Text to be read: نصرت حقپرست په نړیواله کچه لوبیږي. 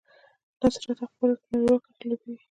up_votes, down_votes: 1, 2